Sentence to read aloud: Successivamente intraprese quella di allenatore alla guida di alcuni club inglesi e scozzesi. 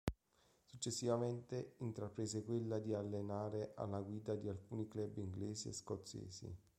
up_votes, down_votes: 0, 2